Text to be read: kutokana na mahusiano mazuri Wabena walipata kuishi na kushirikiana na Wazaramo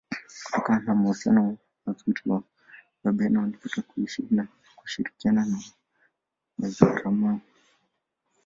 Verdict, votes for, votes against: rejected, 0, 2